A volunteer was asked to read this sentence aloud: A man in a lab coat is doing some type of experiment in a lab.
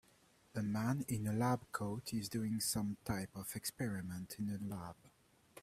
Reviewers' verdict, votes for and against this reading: accepted, 3, 2